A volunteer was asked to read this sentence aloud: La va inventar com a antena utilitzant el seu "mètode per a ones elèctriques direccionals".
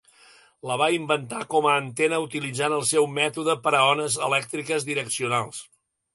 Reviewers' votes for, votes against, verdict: 3, 0, accepted